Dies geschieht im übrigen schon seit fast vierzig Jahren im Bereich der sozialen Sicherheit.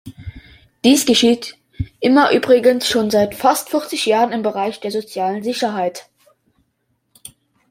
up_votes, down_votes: 0, 2